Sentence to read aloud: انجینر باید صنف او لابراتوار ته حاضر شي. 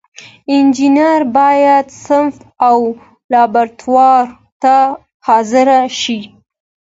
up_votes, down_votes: 2, 1